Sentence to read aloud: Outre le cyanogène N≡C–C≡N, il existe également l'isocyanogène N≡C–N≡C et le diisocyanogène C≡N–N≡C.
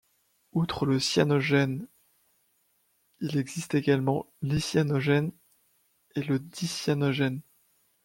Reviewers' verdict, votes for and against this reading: rejected, 1, 2